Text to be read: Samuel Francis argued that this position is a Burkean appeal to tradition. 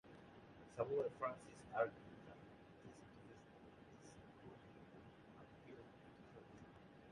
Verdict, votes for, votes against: rejected, 0, 2